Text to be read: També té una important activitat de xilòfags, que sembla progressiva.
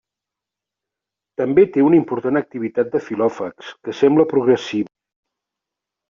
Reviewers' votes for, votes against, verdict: 1, 2, rejected